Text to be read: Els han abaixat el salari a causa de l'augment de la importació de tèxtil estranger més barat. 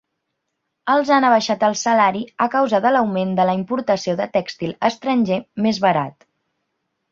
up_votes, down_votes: 4, 0